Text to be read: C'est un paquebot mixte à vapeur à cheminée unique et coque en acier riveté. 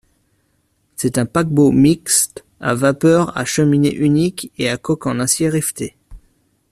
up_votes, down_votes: 1, 2